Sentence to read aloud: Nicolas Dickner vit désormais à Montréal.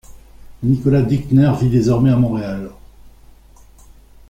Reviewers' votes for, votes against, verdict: 1, 2, rejected